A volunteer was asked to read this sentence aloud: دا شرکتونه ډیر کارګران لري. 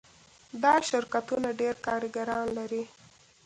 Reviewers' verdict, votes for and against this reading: accepted, 2, 0